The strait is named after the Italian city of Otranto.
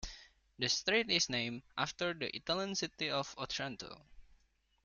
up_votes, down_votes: 2, 1